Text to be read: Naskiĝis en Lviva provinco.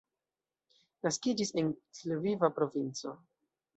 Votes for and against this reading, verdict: 1, 2, rejected